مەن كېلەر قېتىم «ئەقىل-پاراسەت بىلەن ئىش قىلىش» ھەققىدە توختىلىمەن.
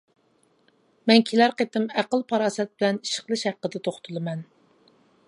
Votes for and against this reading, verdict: 2, 0, accepted